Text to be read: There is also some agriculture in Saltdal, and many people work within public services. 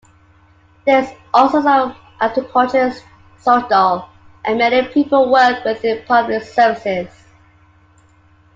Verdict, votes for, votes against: rejected, 0, 2